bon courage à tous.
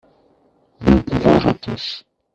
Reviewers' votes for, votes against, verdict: 1, 2, rejected